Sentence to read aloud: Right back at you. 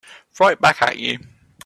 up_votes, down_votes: 3, 0